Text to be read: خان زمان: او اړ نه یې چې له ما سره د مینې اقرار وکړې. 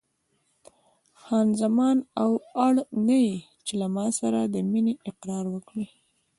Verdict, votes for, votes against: accepted, 2, 0